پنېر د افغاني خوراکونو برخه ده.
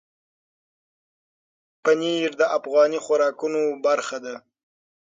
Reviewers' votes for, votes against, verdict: 6, 0, accepted